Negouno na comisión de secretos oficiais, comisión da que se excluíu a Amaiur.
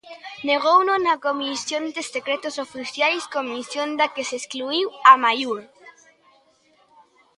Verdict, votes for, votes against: rejected, 0, 2